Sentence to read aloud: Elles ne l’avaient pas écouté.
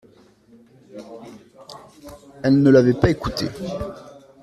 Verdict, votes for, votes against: accepted, 2, 0